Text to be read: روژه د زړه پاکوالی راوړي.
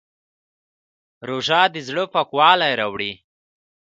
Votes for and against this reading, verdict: 2, 1, accepted